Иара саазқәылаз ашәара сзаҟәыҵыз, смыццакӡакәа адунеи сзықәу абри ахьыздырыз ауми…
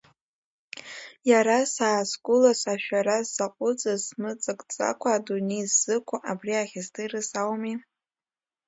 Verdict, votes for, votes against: accepted, 2, 1